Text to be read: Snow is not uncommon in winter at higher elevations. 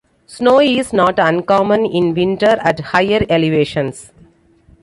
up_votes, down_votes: 2, 0